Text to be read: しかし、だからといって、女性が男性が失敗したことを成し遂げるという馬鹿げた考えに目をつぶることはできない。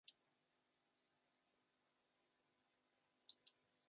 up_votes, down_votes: 0, 2